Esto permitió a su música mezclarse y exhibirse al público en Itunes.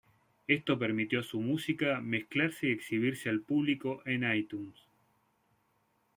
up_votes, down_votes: 2, 0